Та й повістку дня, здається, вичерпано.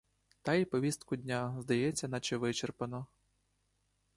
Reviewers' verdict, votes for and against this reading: rejected, 1, 2